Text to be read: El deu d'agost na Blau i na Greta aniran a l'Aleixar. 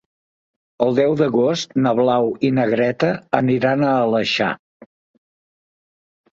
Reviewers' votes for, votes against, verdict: 2, 0, accepted